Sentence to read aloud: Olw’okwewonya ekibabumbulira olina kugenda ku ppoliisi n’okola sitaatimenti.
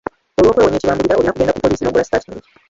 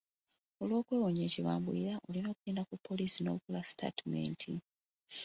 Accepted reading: second